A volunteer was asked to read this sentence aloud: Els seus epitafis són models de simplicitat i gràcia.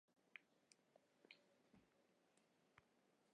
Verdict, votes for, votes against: rejected, 0, 2